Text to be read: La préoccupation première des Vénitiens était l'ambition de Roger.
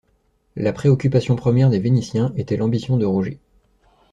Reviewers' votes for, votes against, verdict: 2, 0, accepted